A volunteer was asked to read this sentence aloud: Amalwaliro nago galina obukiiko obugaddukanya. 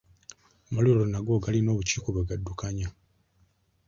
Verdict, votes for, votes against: rejected, 1, 2